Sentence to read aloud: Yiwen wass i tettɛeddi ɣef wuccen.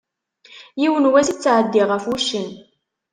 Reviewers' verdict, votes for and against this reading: accepted, 2, 0